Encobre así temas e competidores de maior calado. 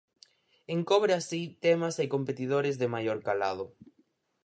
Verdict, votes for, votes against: accepted, 6, 0